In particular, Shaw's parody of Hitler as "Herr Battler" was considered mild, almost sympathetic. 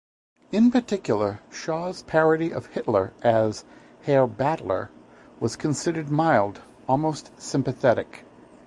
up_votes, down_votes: 2, 0